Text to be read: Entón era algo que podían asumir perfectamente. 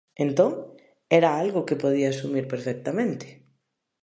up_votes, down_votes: 0, 2